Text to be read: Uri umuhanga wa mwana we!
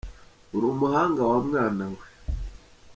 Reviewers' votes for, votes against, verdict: 1, 3, rejected